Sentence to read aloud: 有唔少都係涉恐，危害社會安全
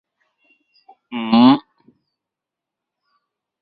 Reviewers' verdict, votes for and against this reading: rejected, 0, 2